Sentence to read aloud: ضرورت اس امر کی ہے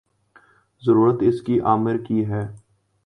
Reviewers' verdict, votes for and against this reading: rejected, 0, 2